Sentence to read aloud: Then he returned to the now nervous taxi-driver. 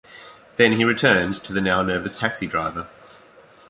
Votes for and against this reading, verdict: 2, 0, accepted